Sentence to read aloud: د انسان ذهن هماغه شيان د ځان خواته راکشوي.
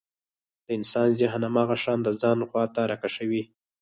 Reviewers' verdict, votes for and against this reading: rejected, 2, 4